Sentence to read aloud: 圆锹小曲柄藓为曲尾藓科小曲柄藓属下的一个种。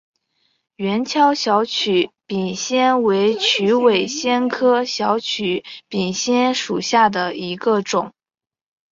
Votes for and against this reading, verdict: 3, 0, accepted